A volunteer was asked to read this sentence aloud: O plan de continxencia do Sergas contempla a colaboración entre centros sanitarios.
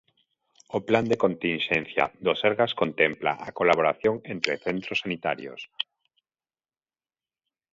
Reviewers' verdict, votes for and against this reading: accepted, 2, 0